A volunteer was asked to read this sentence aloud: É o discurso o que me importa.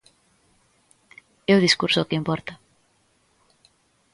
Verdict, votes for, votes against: rejected, 0, 2